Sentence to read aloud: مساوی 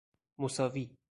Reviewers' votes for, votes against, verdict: 2, 0, accepted